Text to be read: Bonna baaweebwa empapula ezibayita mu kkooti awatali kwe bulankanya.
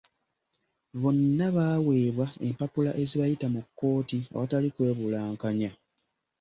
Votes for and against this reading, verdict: 2, 0, accepted